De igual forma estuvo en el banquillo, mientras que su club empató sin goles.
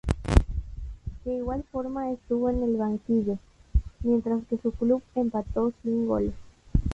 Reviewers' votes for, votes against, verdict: 2, 0, accepted